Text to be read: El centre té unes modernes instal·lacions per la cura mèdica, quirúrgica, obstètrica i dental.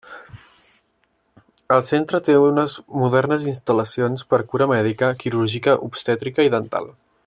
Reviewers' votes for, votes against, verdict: 0, 2, rejected